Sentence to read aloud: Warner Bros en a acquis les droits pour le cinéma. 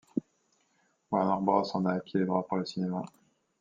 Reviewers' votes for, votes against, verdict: 2, 0, accepted